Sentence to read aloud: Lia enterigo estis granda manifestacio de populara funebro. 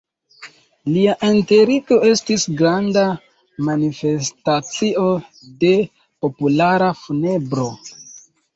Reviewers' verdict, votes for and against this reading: rejected, 1, 2